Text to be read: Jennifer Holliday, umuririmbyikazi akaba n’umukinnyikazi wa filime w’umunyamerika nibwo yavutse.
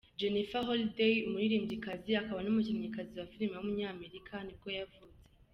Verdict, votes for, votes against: rejected, 1, 2